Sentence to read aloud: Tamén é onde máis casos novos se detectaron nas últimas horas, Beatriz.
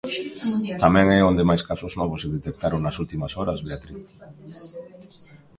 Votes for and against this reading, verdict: 1, 2, rejected